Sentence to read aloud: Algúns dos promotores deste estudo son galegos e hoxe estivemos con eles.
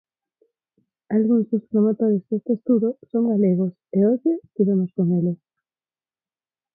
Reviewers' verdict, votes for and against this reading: rejected, 0, 4